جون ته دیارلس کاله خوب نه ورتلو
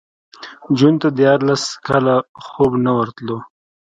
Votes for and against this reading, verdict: 2, 0, accepted